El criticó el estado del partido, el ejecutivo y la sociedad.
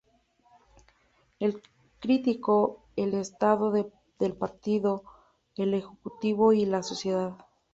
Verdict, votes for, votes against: rejected, 0, 2